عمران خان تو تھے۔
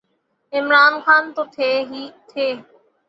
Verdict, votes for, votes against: rejected, 0, 6